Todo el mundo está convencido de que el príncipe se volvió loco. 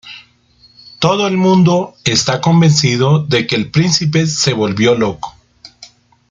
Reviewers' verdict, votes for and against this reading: accepted, 3, 0